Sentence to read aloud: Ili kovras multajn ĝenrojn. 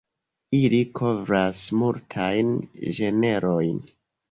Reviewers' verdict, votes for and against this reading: rejected, 0, 3